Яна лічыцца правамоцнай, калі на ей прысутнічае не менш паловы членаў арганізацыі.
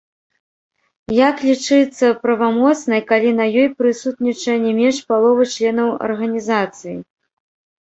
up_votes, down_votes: 1, 2